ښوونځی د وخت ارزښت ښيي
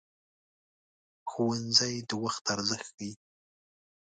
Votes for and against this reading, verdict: 2, 0, accepted